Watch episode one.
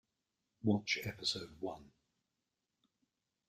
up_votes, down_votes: 2, 0